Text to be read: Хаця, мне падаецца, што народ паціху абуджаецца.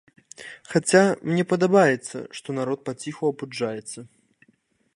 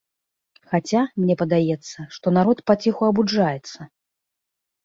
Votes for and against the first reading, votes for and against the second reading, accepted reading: 1, 2, 2, 0, second